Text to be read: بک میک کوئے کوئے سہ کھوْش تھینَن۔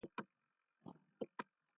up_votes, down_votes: 0, 2